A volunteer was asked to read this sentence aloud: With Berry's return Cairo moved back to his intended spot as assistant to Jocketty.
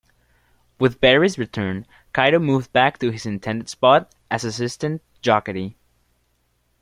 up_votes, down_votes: 1, 2